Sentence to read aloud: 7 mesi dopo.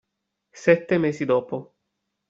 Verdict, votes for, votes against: rejected, 0, 2